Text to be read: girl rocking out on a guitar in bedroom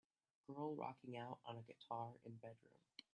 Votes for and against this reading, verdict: 2, 0, accepted